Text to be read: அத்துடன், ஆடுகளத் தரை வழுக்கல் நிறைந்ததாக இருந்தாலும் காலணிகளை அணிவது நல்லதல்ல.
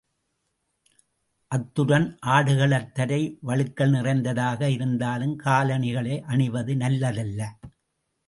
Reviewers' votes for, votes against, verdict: 2, 0, accepted